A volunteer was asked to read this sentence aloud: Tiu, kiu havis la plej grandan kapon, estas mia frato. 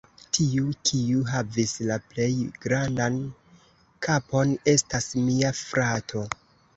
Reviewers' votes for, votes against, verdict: 1, 2, rejected